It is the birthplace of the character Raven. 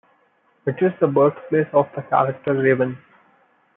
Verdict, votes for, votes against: accepted, 2, 0